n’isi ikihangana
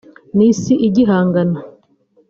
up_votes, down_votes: 1, 2